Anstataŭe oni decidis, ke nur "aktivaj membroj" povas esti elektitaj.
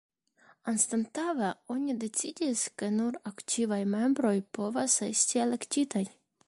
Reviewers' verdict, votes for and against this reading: rejected, 1, 2